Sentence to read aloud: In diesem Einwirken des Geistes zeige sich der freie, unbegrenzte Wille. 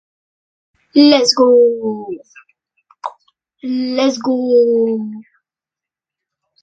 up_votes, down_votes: 0, 2